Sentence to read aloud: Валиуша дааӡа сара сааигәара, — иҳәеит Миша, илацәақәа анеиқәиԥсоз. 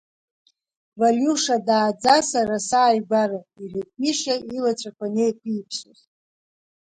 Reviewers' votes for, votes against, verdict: 1, 2, rejected